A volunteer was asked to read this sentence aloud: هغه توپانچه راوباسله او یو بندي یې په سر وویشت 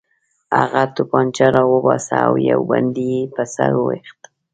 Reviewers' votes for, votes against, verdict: 2, 0, accepted